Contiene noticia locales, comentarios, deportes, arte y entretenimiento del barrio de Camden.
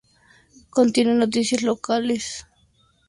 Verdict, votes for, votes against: rejected, 0, 2